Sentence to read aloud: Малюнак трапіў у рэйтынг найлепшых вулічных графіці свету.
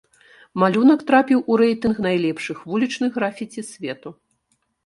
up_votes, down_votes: 1, 2